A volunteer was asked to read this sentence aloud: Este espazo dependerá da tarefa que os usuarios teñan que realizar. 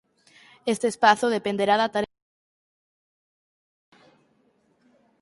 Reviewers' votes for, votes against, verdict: 0, 4, rejected